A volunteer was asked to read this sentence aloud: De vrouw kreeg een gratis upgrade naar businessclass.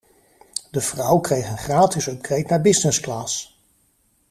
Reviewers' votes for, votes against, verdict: 2, 0, accepted